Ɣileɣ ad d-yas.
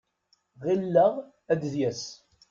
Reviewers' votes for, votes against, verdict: 1, 2, rejected